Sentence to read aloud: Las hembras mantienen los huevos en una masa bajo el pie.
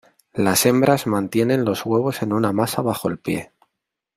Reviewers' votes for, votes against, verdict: 2, 0, accepted